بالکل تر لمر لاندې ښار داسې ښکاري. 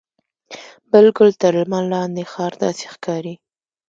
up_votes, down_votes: 2, 0